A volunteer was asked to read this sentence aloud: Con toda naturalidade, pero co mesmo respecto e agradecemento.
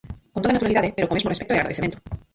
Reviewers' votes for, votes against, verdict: 0, 4, rejected